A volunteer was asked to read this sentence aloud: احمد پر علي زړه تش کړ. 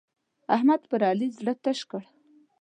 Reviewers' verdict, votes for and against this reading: accepted, 2, 0